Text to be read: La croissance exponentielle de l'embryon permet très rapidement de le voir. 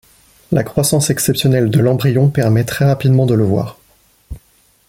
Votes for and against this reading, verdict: 0, 2, rejected